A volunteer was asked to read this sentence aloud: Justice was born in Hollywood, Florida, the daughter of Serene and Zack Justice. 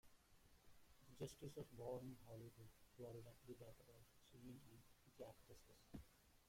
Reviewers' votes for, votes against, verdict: 0, 2, rejected